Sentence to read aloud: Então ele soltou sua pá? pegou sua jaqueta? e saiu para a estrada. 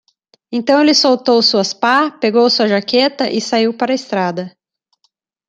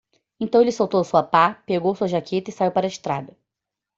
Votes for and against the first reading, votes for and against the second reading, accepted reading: 0, 2, 2, 0, second